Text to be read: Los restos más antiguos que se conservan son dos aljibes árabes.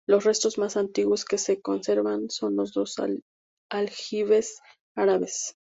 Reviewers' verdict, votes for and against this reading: accepted, 2, 0